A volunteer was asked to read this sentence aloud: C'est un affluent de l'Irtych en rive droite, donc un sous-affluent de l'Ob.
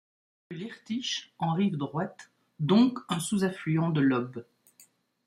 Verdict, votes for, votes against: rejected, 0, 2